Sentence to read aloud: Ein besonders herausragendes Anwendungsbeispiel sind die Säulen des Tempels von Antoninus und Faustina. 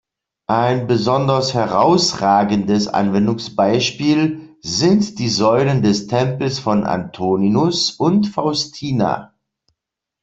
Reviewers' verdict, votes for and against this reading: rejected, 1, 2